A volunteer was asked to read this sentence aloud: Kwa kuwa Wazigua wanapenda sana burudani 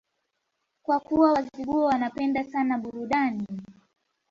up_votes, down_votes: 1, 2